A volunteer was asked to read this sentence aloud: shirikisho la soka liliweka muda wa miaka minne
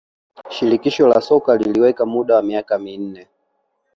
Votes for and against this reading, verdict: 2, 0, accepted